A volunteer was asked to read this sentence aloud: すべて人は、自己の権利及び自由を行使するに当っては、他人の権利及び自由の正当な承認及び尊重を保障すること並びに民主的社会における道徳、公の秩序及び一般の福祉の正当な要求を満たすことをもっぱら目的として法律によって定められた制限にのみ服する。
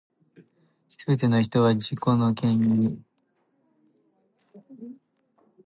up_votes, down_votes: 0, 2